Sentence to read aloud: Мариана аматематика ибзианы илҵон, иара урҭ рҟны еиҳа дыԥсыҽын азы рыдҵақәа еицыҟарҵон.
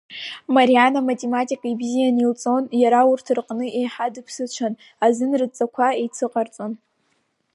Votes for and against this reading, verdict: 4, 0, accepted